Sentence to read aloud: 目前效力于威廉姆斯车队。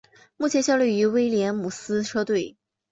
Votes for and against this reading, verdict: 2, 0, accepted